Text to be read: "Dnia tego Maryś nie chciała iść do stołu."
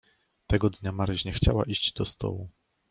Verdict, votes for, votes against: rejected, 1, 2